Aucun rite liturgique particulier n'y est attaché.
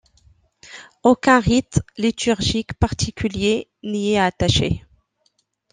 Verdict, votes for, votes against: accepted, 2, 0